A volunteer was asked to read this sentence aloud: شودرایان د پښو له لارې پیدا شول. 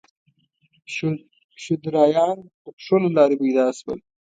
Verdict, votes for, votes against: accepted, 2, 0